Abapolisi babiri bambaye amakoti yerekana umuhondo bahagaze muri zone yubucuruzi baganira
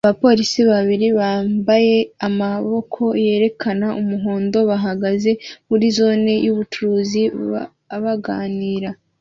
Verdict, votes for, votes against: rejected, 0, 2